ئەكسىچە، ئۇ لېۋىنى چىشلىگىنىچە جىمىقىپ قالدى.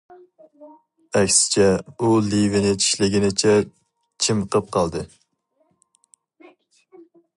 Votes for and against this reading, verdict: 2, 2, rejected